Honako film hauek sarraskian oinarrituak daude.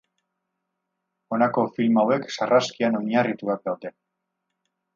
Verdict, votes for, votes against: accepted, 4, 0